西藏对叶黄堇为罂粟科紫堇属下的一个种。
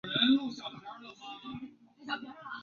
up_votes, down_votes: 0, 2